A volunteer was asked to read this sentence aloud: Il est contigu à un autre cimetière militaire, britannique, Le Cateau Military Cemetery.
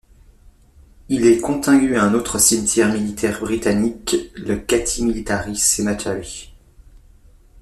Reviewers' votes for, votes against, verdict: 0, 2, rejected